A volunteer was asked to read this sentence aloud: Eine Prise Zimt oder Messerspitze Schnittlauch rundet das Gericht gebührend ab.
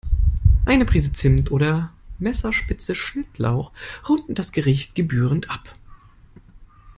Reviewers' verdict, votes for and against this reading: accepted, 2, 0